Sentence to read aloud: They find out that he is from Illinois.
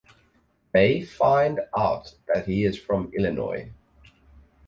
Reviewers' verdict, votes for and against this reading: rejected, 2, 2